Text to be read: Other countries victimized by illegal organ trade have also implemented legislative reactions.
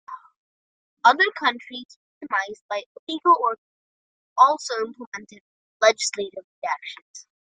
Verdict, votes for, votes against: rejected, 0, 2